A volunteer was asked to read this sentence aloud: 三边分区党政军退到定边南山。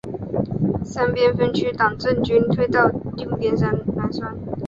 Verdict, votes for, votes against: accepted, 6, 0